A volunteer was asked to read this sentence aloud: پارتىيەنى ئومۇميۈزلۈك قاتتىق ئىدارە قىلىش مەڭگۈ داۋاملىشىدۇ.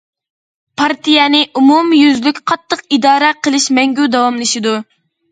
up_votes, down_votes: 2, 0